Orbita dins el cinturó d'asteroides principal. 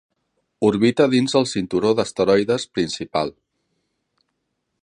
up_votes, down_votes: 3, 0